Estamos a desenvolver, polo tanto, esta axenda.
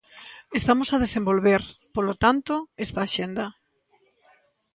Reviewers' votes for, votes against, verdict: 2, 0, accepted